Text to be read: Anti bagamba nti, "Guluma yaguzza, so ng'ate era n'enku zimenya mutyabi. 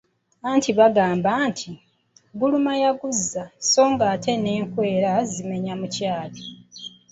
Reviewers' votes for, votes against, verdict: 1, 2, rejected